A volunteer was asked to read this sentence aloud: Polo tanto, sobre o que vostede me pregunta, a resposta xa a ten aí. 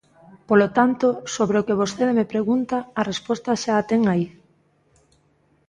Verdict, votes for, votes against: accepted, 2, 0